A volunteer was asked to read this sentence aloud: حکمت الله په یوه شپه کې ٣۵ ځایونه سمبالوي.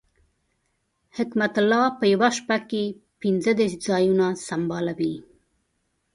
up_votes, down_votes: 0, 2